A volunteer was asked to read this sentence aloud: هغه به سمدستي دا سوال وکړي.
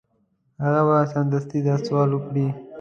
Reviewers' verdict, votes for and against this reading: accepted, 2, 0